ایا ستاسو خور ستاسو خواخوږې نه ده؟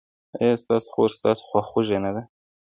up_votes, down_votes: 2, 0